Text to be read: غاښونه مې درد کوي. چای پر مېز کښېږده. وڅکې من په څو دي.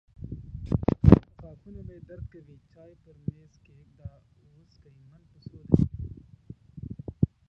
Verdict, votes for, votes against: rejected, 0, 2